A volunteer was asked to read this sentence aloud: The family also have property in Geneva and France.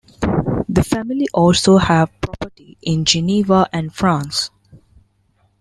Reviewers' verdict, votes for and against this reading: rejected, 1, 2